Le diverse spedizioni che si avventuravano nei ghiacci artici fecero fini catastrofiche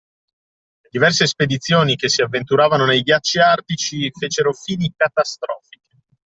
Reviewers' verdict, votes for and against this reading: rejected, 0, 2